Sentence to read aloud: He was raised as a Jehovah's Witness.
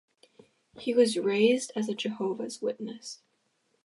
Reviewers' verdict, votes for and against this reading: accepted, 2, 0